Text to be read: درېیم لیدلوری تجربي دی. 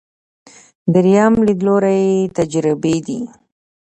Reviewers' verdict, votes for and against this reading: accepted, 2, 0